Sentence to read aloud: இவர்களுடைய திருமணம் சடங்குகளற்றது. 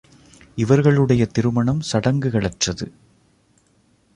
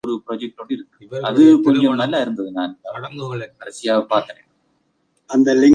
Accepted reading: first